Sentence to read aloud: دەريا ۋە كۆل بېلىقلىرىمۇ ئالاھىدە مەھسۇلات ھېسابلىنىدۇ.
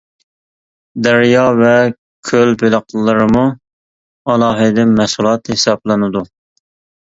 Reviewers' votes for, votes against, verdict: 2, 0, accepted